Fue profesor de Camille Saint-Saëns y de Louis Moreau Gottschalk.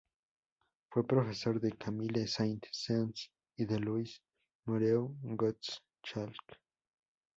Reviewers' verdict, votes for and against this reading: accepted, 2, 0